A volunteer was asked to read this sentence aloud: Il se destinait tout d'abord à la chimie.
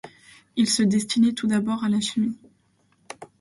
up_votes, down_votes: 2, 0